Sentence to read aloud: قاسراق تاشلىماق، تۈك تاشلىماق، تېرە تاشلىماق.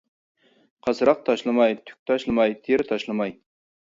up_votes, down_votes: 0, 2